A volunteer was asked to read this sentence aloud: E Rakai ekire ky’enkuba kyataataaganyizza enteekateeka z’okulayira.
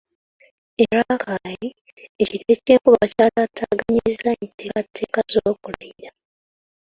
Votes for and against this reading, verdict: 0, 2, rejected